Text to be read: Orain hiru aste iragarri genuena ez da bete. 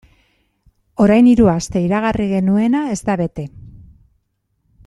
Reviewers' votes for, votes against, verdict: 2, 0, accepted